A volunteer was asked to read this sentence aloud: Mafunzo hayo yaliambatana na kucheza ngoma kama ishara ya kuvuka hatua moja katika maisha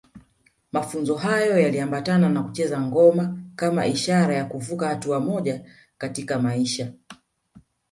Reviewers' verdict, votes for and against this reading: accepted, 2, 0